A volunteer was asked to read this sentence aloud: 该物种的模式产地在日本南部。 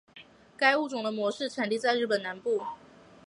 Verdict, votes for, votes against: accepted, 2, 0